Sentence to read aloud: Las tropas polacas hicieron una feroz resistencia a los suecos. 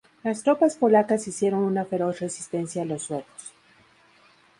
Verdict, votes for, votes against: accepted, 2, 0